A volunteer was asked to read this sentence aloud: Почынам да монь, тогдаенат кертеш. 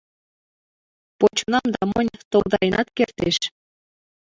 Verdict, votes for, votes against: rejected, 1, 2